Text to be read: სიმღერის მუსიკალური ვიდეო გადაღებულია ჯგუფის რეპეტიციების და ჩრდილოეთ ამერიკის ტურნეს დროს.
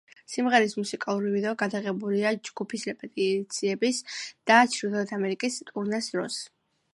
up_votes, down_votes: 2, 0